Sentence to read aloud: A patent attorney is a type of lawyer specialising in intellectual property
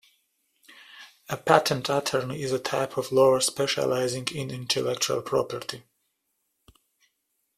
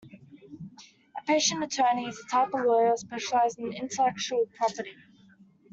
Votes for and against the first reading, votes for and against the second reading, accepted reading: 2, 0, 0, 2, first